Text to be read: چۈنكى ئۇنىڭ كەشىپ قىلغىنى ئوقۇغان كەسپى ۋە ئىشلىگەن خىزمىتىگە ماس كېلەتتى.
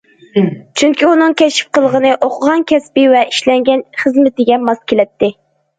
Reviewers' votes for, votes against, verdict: 1, 2, rejected